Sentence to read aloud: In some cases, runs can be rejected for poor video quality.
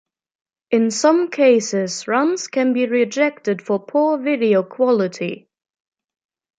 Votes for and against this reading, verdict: 1, 2, rejected